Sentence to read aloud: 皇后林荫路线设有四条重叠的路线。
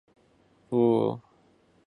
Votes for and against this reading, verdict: 0, 2, rejected